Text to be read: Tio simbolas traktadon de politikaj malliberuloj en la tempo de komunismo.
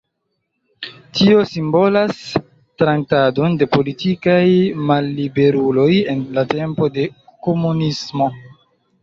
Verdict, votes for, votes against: rejected, 1, 2